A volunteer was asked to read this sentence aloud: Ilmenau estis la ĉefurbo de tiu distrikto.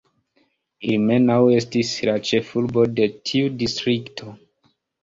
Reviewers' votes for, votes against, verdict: 2, 0, accepted